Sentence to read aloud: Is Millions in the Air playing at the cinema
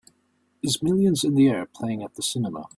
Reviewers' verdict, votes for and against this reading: accepted, 3, 0